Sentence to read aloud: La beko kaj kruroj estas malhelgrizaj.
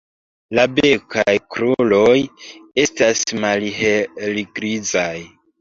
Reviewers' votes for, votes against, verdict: 0, 2, rejected